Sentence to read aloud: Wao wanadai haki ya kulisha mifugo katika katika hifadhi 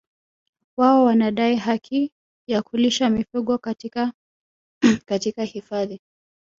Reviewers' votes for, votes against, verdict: 0, 2, rejected